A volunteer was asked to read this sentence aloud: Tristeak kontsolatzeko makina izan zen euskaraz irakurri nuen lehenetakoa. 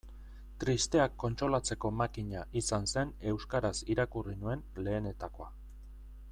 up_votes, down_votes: 2, 0